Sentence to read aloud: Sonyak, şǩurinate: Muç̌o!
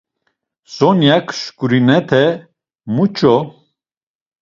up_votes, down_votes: 1, 2